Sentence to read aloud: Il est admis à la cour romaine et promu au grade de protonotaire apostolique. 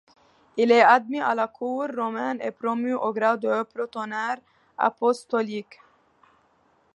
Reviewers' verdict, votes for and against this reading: rejected, 0, 2